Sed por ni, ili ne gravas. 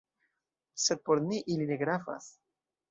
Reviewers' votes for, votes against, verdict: 2, 1, accepted